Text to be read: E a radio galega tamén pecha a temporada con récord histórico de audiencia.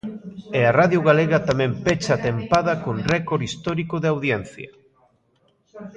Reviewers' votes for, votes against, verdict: 0, 2, rejected